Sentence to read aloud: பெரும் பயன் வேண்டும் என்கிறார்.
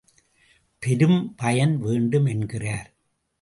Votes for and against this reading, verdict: 2, 0, accepted